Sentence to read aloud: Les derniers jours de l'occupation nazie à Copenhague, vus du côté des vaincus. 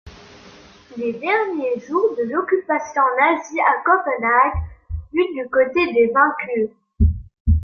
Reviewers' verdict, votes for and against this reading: accepted, 2, 0